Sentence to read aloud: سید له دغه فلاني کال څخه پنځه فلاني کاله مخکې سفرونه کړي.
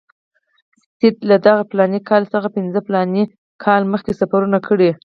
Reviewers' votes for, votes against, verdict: 4, 2, accepted